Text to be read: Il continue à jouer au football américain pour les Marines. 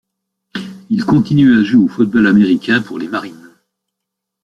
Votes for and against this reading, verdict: 1, 2, rejected